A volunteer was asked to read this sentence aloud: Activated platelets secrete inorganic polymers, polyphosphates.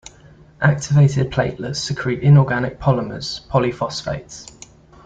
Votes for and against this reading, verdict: 2, 0, accepted